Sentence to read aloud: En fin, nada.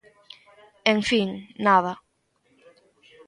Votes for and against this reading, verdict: 1, 2, rejected